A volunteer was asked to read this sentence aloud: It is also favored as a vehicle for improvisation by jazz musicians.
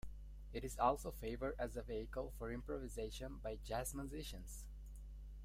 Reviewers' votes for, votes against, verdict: 2, 0, accepted